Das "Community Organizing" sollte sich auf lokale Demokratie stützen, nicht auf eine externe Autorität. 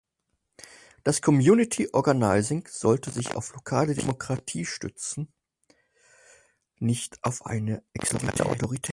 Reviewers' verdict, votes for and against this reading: rejected, 0, 4